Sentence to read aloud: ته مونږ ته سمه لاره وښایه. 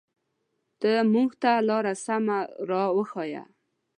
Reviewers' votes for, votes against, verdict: 1, 2, rejected